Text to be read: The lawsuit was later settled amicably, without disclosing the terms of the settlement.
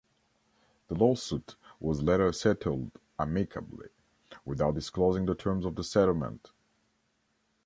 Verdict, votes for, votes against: accepted, 2, 0